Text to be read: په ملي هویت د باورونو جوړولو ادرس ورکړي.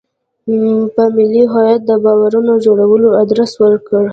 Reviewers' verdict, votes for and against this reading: accepted, 2, 1